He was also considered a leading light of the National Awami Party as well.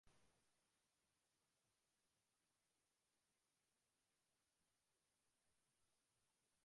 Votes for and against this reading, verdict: 0, 2, rejected